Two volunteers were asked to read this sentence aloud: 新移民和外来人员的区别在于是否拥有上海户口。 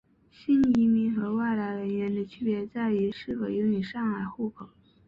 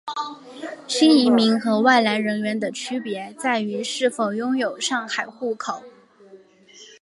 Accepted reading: second